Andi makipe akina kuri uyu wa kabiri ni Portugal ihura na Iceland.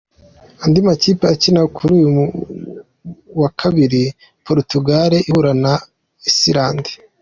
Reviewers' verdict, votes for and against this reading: accepted, 2, 1